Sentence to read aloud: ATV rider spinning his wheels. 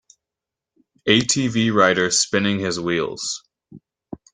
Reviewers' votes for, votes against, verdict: 2, 0, accepted